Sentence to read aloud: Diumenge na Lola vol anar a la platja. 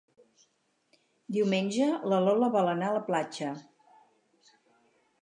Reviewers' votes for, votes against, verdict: 2, 4, rejected